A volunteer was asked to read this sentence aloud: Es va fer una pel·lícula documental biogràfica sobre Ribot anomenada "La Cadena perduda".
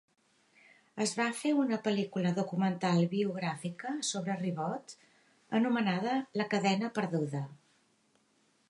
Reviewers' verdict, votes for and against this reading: accepted, 2, 0